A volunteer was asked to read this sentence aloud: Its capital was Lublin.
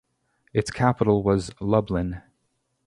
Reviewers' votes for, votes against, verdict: 2, 0, accepted